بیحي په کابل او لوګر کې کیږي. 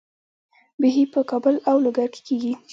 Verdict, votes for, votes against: accepted, 2, 1